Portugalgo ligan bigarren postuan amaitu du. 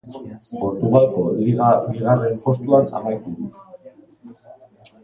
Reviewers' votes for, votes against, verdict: 3, 1, accepted